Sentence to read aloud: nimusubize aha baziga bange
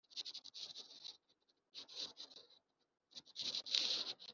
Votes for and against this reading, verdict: 0, 2, rejected